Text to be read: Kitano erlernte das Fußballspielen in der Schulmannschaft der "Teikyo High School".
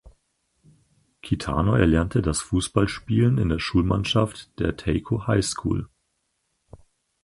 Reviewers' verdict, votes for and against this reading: accepted, 4, 0